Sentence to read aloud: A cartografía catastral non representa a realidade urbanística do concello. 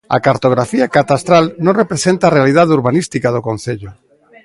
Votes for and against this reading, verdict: 2, 0, accepted